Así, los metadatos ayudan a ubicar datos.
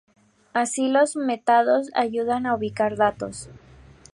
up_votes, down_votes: 0, 4